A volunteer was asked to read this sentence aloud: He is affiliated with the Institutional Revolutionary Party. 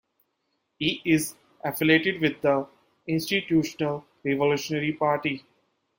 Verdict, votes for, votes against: accepted, 2, 0